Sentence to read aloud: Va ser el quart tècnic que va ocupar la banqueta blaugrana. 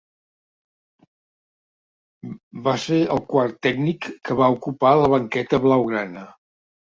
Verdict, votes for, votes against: accepted, 2, 0